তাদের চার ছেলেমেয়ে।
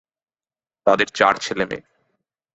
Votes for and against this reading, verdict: 2, 0, accepted